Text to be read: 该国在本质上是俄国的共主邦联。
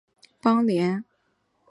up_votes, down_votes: 0, 2